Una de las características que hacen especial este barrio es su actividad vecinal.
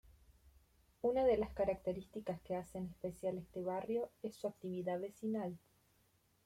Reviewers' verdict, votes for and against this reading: accepted, 2, 0